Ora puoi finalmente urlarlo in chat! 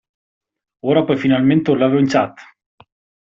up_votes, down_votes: 1, 2